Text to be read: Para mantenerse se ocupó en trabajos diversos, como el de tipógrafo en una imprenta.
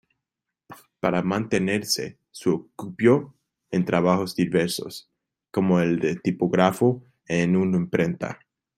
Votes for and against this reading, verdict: 2, 1, accepted